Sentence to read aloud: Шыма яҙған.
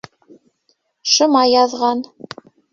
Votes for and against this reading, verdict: 1, 2, rejected